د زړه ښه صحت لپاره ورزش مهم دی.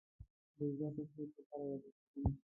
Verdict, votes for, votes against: rejected, 0, 2